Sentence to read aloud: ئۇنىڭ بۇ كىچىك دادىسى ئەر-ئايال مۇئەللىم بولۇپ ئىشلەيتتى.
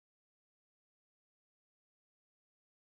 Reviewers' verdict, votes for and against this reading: rejected, 0, 2